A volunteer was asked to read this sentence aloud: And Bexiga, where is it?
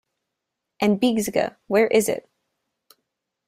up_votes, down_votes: 2, 0